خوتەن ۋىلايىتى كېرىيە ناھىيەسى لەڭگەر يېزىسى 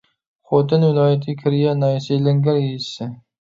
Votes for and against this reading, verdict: 1, 2, rejected